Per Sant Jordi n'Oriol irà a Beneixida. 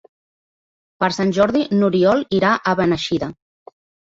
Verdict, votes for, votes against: accepted, 2, 0